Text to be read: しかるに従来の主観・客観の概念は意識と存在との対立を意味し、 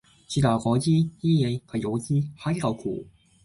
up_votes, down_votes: 0, 4